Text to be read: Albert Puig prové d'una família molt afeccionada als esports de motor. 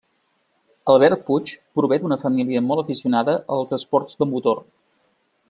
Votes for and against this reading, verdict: 0, 2, rejected